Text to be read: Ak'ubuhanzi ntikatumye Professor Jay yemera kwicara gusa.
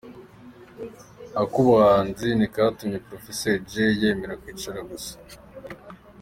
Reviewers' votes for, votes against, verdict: 2, 0, accepted